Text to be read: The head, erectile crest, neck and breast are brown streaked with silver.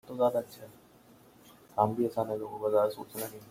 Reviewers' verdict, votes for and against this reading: rejected, 0, 2